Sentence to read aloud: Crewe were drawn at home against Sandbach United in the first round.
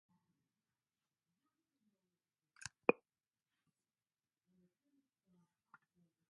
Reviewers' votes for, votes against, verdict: 0, 2, rejected